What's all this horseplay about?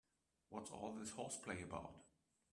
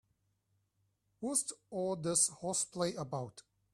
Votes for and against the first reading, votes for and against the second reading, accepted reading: 0, 2, 3, 0, second